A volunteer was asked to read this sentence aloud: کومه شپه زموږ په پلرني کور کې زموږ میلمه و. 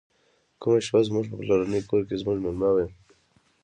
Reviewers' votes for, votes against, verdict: 2, 0, accepted